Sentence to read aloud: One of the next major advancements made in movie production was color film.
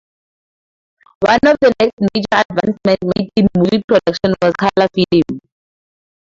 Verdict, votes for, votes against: rejected, 0, 4